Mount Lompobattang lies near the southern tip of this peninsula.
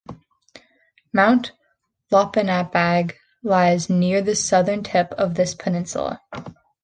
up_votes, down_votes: 0, 2